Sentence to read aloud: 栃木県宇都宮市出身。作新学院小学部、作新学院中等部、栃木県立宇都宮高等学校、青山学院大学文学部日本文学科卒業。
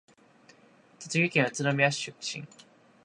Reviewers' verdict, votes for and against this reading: rejected, 1, 2